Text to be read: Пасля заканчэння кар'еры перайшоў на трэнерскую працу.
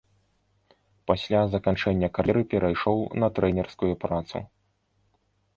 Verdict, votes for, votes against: rejected, 1, 2